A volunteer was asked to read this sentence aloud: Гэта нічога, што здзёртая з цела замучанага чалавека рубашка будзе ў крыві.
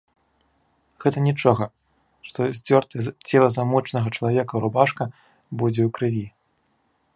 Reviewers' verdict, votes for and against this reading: rejected, 1, 2